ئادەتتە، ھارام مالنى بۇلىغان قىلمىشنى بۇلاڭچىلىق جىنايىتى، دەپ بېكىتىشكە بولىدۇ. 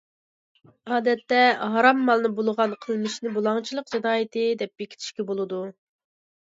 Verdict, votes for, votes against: accepted, 2, 0